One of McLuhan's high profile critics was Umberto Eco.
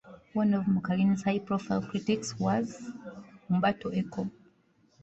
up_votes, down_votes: 1, 2